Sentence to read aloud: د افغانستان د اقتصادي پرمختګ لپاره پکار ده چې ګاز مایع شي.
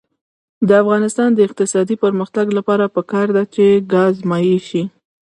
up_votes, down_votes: 2, 1